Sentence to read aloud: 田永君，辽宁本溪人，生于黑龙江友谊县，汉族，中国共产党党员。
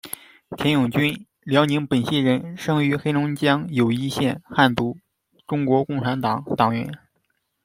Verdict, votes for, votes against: accepted, 2, 0